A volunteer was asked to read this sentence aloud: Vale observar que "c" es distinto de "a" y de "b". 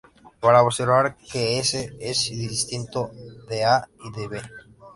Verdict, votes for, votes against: rejected, 0, 2